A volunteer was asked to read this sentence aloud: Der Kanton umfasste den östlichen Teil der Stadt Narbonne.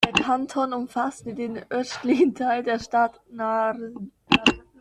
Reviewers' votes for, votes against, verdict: 0, 2, rejected